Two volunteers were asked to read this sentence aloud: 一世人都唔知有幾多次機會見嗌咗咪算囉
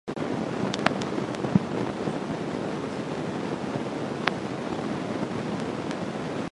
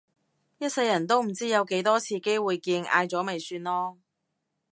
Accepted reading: second